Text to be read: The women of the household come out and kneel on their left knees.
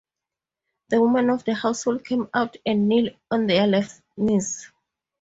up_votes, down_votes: 2, 0